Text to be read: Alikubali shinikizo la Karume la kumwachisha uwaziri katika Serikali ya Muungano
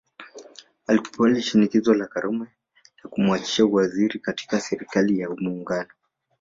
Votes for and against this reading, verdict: 2, 1, accepted